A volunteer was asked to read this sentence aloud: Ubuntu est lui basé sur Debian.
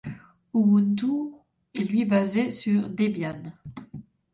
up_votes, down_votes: 2, 0